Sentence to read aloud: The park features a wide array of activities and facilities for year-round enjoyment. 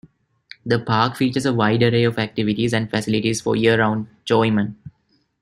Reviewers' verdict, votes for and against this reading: rejected, 1, 2